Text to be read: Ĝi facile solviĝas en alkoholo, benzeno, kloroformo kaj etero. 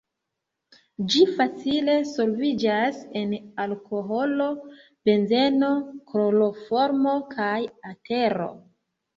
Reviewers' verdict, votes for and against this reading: rejected, 1, 2